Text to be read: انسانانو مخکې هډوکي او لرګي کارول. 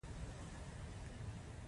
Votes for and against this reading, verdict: 0, 2, rejected